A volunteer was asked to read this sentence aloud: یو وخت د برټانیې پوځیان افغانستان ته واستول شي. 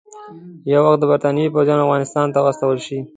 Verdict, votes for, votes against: accepted, 2, 0